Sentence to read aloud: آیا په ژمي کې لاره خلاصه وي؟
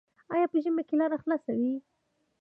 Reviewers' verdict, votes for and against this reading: rejected, 0, 2